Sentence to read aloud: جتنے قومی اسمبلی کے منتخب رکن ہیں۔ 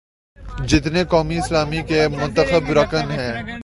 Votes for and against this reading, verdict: 1, 2, rejected